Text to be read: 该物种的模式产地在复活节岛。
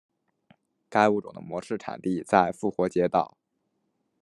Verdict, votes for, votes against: accepted, 2, 0